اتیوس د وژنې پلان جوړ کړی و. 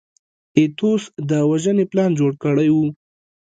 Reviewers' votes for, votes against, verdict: 0, 2, rejected